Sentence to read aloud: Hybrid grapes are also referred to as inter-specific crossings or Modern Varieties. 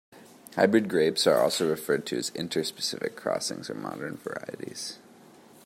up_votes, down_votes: 2, 0